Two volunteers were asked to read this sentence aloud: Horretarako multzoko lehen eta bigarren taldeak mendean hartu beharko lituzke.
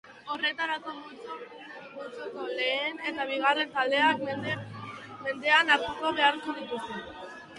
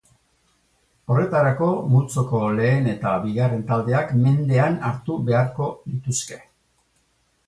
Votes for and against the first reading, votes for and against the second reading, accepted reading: 0, 2, 4, 0, second